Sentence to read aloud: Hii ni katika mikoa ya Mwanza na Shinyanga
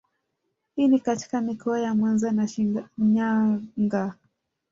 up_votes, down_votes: 0, 2